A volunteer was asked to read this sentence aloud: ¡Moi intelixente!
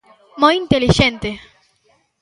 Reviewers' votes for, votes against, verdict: 2, 0, accepted